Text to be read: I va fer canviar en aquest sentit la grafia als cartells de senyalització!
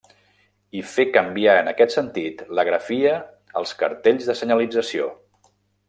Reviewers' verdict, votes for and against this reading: rejected, 0, 2